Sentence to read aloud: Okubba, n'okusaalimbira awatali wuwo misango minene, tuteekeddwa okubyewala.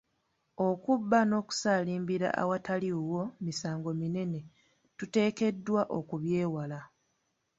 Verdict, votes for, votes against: accepted, 3, 0